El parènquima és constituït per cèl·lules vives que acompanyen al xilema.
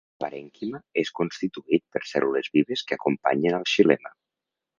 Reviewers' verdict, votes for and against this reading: rejected, 0, 2